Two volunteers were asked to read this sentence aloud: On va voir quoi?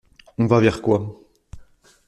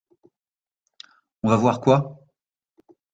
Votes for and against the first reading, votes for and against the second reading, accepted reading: 0, 2, 2, 0, second